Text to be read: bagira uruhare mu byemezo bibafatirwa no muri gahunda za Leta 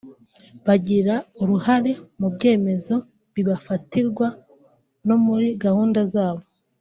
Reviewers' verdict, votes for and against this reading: rejected, 0, 2